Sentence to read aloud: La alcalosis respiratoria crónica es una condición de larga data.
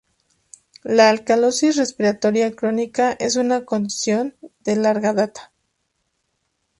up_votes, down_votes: 2, 0